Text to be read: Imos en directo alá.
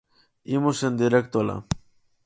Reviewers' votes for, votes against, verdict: 4, 0, accepted